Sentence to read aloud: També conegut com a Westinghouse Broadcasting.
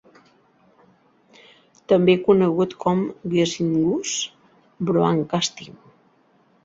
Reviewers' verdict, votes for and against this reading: rejected, 0, 7